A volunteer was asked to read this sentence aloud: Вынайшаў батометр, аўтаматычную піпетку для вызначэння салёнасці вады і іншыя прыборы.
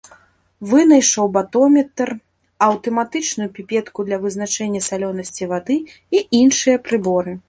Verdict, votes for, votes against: accepted, 2, 0